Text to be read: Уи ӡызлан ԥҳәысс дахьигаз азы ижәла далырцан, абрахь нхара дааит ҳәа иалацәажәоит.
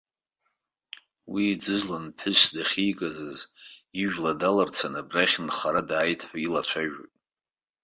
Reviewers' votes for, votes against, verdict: 1, 2, rejected